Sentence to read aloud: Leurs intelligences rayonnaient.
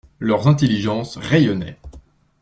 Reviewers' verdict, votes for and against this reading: accepted, 2, 0